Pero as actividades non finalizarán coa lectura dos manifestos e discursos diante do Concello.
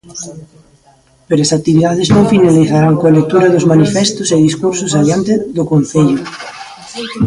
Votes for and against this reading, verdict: 0, 2, rejected